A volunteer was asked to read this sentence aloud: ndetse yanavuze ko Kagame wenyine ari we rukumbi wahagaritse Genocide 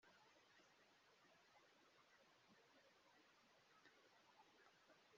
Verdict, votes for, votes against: rejected, 1, 2